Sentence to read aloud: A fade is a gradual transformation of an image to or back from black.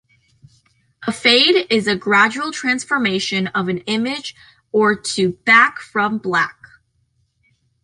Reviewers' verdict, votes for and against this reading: rejected, 1, 2